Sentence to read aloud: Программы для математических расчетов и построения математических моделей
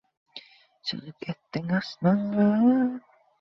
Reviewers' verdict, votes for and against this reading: rejected, 0, 2